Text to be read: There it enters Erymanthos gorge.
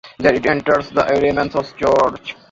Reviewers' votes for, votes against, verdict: 1, 2, rejected